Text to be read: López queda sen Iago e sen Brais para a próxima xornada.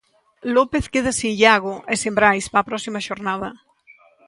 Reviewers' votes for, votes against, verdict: 2, 1, accepted